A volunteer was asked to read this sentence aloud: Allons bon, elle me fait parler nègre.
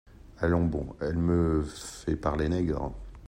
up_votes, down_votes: 1, 2